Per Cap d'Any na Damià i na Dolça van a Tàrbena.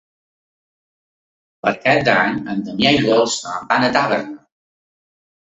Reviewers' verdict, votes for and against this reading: accepted, 2, 1